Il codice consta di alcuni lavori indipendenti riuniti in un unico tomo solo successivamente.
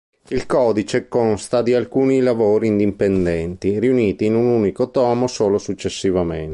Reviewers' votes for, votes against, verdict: 2, 0, accepted